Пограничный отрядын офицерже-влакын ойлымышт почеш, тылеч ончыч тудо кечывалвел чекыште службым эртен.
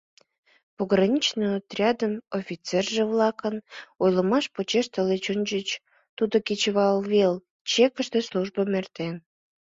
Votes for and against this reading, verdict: 1, 2, rejected